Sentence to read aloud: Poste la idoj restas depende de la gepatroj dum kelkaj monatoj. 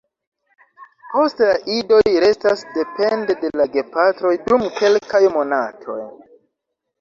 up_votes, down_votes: 2, 0